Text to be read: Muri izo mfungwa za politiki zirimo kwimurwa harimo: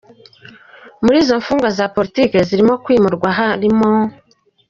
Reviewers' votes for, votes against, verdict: 2, 0, accepted